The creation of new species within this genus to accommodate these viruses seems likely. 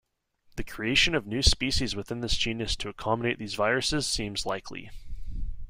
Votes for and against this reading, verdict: 2, 0, accepted